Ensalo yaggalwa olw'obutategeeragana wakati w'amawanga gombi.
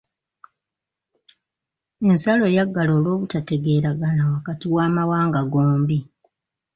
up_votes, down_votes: 2, 1